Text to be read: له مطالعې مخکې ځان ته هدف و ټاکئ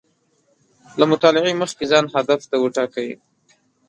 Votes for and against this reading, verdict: 1, 2, rejected